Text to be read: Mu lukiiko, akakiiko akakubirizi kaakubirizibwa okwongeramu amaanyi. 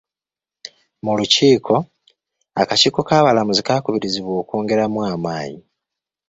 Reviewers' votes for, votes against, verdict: 1, 2, rejected